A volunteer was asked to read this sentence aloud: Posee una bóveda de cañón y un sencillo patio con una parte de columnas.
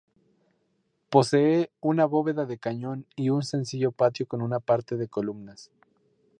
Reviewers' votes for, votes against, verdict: 0, 2, rejected